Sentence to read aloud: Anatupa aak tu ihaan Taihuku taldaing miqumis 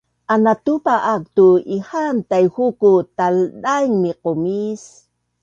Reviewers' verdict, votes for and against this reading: accepted, 2, 0